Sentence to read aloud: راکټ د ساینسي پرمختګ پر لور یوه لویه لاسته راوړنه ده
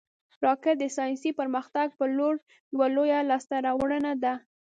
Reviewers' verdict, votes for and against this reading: accepted, 2, 0